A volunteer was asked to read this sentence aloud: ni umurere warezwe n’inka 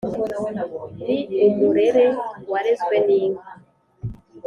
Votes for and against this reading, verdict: 2, 0, accepted